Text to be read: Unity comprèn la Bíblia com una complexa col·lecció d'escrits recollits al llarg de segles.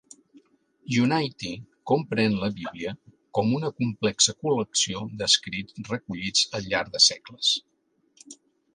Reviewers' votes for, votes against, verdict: 0, 2, rejected